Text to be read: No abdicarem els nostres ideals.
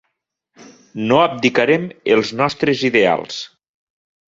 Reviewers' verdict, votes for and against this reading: accepted, 3, 0